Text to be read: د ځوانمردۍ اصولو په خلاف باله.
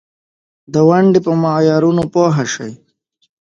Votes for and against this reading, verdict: 0, 2, rejected